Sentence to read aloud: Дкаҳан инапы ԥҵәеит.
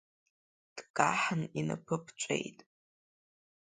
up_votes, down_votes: 3, 0